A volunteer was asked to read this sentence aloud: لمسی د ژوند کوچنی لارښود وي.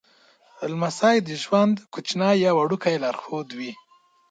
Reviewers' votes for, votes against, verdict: 1, 2, rejected